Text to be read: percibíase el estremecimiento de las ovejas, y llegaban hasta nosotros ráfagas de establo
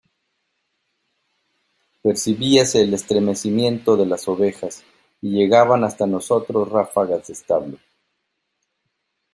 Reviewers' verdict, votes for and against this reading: accepted, 2, 0